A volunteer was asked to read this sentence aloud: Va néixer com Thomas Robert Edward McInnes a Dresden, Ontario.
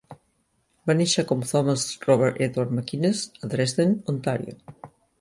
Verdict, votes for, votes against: accepted, 3, 0